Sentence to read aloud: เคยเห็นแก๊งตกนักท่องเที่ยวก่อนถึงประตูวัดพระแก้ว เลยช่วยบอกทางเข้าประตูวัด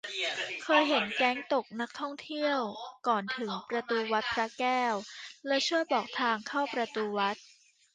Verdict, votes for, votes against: rejected, 0, 2